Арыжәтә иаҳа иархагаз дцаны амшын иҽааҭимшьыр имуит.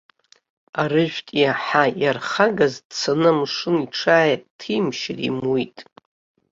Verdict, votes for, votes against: rejected, 1, 2